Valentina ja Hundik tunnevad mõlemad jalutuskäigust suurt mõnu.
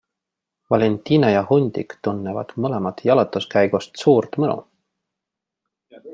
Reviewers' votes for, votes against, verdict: 3, 1, accepted